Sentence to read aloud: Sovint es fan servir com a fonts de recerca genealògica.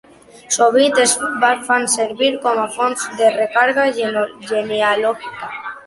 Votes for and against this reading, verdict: 0, 2, rejected